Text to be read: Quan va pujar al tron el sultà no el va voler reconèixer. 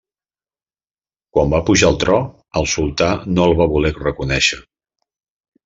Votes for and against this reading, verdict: 0, 2, rejected